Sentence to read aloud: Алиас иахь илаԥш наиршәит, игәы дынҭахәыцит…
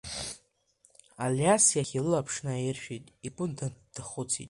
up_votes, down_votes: 2, 1